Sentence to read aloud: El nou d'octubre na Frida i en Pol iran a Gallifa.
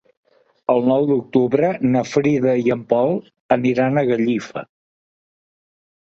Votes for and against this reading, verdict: 0, 2, rejected